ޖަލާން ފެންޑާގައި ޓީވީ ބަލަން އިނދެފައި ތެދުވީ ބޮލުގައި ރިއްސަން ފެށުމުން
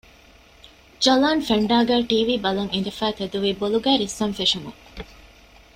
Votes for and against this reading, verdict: 1, 2, rejected